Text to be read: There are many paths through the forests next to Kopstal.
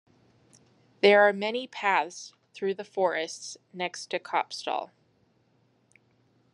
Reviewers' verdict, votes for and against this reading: accepted, 2, 0